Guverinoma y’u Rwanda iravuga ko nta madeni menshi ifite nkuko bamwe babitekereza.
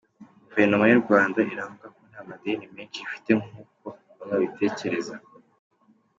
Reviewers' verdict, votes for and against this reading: accepted, 2, 1